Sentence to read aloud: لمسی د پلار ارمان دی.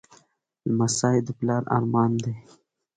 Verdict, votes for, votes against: accepted, 3, 1